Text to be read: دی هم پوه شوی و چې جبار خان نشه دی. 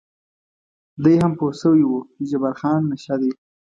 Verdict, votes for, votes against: accepted, 2, 0